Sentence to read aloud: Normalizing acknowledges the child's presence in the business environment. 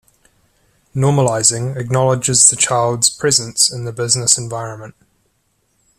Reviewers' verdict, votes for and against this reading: accepted, 2, 1